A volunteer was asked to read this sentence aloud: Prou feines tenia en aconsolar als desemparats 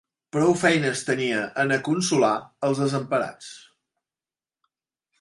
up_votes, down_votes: 2, 0